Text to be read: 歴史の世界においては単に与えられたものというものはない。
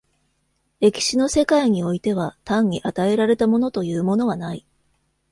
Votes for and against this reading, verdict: 2, 0, accepted